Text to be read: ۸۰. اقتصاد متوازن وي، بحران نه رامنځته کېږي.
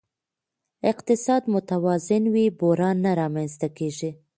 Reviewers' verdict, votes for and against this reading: rejected, 0, 2